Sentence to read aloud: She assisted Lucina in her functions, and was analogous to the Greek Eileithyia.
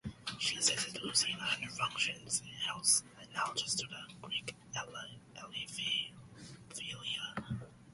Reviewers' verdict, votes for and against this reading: rejected, 0, 3